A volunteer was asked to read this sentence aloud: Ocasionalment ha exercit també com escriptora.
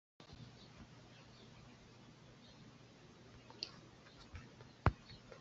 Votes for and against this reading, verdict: 0, 2, rejected